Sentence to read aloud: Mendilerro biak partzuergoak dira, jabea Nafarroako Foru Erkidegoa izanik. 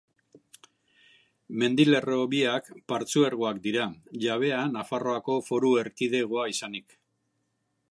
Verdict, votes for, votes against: accepted, 3, 0